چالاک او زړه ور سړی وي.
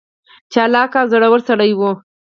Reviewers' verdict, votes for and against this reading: rejected, 2, 4